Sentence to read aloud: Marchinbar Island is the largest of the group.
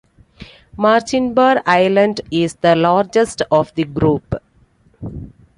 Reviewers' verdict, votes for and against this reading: accepted, 2, 0